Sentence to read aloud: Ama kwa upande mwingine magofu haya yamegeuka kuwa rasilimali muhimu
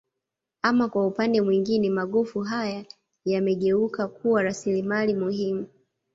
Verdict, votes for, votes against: accepted, 2, 0